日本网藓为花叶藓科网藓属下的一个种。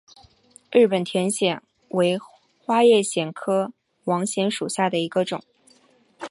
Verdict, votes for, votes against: rejected, 1, 3